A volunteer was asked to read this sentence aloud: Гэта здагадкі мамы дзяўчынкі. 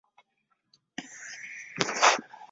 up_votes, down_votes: 0, 2